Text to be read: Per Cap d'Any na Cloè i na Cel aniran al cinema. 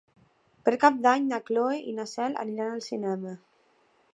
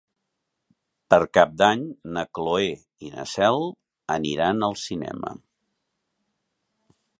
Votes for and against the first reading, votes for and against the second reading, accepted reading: 1, 2, 3, 0, second